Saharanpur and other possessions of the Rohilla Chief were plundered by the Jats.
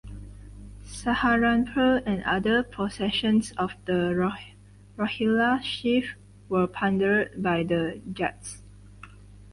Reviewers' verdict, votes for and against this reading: rejected, 0, 4